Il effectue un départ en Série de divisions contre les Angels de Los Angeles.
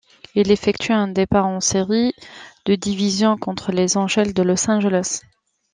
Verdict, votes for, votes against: rejected, 0, 2